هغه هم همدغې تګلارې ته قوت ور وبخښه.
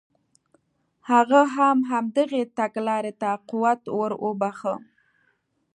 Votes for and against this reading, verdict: 2, 0, accepted